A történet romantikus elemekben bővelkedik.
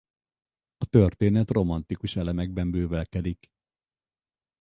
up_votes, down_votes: 4, 2